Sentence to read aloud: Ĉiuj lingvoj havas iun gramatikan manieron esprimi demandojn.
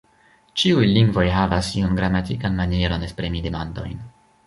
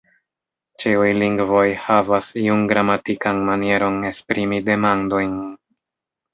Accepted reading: first